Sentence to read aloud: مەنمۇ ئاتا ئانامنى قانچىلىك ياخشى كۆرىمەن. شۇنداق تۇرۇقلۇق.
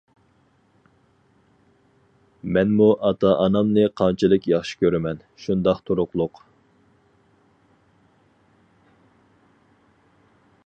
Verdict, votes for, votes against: accepted, 4, 0